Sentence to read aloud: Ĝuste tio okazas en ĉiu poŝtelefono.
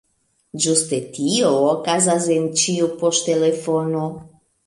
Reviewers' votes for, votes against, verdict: 1, 2, rejected